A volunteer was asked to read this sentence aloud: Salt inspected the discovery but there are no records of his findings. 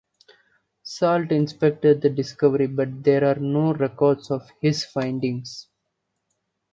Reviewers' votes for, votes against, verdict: 1, 2, rejected